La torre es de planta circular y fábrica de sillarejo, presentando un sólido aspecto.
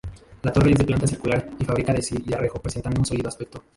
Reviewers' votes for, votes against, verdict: 0, 2, rejected